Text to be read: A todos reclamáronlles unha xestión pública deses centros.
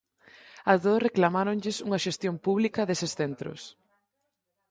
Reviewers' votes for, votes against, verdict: 4, 2, accepted